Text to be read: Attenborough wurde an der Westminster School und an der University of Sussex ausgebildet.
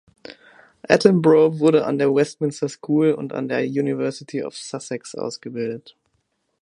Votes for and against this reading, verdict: 2, 0, accepted